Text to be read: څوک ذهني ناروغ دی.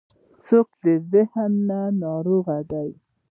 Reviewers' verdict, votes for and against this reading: rejected, 1, 2